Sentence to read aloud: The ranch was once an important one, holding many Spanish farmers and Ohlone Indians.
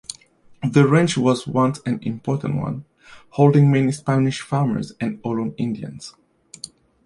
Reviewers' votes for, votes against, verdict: 2, 1, accepted